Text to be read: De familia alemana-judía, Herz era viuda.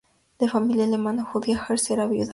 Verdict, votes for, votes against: accepted, 4, 0